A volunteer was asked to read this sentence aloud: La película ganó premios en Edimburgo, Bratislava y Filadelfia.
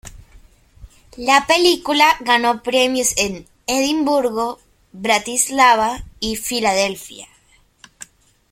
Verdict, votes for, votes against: accepted, 2, 0